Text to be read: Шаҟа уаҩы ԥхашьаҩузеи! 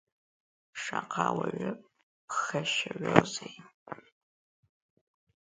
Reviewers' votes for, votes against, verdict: 0, 2, rejected